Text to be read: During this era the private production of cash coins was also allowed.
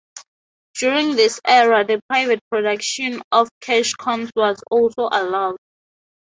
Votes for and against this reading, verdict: 2, 0, accepted